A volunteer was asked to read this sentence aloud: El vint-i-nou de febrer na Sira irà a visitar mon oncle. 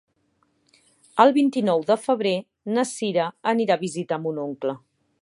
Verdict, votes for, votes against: accepted, 2, 1